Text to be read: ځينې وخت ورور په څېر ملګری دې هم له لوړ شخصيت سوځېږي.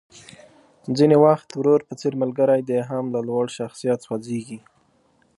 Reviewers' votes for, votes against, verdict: 2, 0, accepted